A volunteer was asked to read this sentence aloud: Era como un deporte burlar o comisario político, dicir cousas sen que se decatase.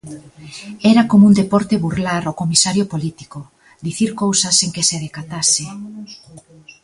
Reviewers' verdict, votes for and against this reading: rejected, 1, 2